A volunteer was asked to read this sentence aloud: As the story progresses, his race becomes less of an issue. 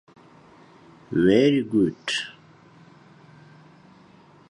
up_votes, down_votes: 0, 2